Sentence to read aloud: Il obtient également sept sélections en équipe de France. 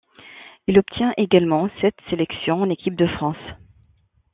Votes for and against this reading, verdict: 2, 0, accepted